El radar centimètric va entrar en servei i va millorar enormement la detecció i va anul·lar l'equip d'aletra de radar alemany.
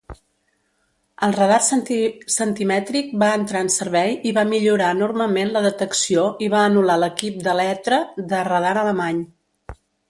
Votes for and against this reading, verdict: 1, 2, rejected